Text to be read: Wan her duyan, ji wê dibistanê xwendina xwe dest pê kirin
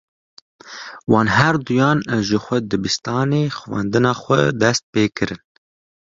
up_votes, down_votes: 1, 2